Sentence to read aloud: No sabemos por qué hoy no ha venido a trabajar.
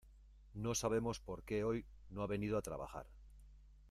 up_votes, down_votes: 2, 0